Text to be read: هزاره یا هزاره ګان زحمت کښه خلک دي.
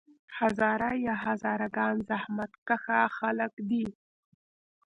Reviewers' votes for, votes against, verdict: 2, 0, accepted